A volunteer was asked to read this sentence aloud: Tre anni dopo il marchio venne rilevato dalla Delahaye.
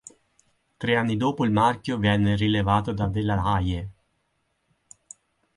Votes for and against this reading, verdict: 2, 4, rejected